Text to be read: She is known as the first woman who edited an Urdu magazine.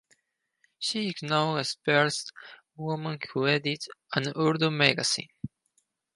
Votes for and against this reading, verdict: 0, 4, rejected